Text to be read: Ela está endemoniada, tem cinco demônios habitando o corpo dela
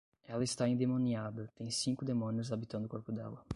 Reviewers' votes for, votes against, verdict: 5, 0, accepted